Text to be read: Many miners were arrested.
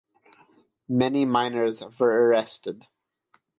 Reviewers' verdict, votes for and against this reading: accepted, 3, 0